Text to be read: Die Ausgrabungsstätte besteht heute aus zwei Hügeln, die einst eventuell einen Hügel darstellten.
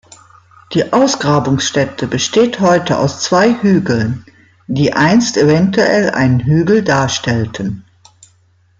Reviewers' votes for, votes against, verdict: 2, 0, accepted